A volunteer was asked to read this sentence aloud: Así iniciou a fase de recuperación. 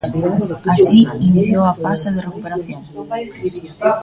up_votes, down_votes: 0, 2